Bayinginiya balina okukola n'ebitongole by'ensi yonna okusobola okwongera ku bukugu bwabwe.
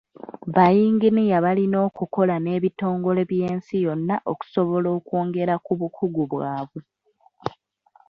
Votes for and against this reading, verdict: 2, 1, accepted